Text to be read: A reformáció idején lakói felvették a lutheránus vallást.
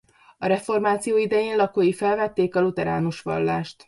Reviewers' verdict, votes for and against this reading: accepted, 2, 0